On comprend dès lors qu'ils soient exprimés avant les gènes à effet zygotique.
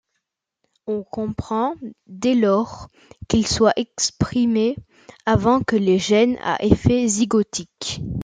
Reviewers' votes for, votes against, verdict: 0, 2, rejected